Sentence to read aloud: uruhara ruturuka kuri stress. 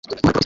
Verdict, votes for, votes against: rejected, 1, 3